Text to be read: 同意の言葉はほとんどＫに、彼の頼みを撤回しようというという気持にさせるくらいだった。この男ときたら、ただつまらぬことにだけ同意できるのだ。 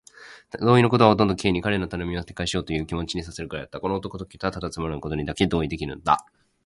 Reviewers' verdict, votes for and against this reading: rejected, 1, 2